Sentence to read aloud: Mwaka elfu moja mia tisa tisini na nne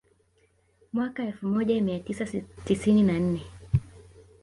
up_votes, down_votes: 2, 1